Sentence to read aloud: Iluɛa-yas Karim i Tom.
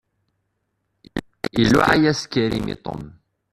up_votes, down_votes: 0, 2